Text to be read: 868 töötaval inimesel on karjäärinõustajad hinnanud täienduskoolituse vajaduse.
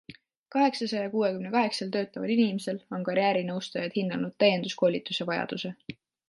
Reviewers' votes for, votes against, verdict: 0, 2, rejected